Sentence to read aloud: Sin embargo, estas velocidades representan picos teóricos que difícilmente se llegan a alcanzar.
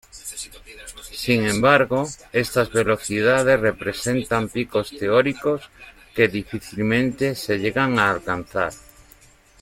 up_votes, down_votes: 2, 1